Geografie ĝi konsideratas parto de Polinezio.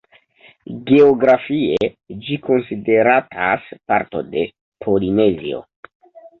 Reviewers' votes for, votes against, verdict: 2, 0, accepted